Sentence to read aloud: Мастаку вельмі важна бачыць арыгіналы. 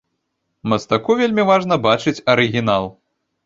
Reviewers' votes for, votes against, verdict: 1, 2, rejected